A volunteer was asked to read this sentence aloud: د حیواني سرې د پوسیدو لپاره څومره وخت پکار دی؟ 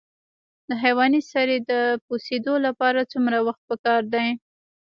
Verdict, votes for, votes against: accepted, 2, 1